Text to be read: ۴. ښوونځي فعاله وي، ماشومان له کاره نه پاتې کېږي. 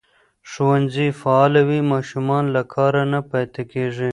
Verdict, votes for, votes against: rejected, 0, 2